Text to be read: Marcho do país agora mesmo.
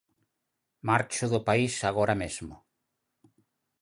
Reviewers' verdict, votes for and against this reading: accepted, 4, 0